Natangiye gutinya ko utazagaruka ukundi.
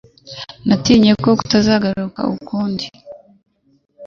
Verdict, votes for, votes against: rejected, 2, 3